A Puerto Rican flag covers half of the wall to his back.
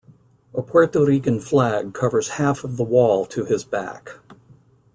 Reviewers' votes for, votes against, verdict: 2, 0, accepted